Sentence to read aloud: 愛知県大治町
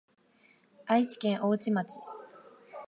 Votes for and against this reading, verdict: 2, 0, accepted